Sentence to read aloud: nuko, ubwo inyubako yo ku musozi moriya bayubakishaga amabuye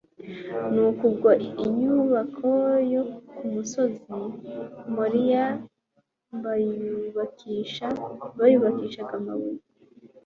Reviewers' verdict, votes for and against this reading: accepted, 2, 0